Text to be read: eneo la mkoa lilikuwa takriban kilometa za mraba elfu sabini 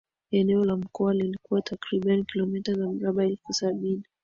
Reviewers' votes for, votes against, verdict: 40, 3, accepted